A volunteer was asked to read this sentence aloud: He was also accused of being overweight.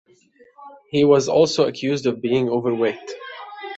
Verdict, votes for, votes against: rejected, 0, 2